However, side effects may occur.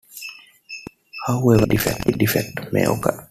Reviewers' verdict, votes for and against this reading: rejected, 0, 2